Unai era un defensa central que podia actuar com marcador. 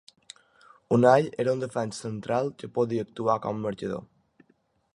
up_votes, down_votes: 0, 2